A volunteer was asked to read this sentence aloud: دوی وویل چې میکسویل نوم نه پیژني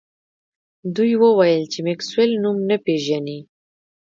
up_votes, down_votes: 2, 0